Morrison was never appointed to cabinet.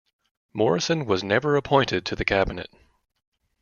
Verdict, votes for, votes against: rejected, 0, 2